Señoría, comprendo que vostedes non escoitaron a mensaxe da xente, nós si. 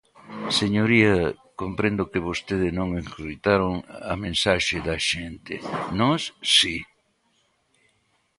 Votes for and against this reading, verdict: 0, 2, rejected